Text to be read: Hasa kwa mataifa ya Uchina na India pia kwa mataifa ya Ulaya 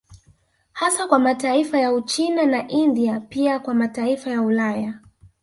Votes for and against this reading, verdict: 3, 0, accepted